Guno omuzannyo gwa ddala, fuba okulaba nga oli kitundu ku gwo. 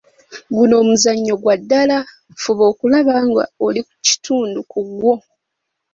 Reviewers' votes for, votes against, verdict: 3, 4, rejected